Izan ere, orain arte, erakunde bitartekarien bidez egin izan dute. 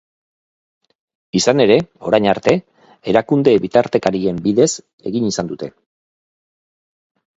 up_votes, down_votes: 0, 2